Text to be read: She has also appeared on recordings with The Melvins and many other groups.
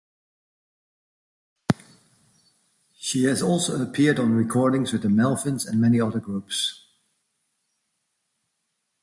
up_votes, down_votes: 2, 0